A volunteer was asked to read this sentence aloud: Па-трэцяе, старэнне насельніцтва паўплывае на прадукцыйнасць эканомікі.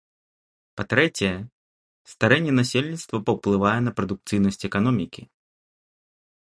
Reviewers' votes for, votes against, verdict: 2, 0, accepted